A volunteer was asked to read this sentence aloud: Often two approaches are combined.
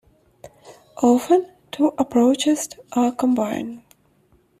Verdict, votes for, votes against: rejected, 1, 2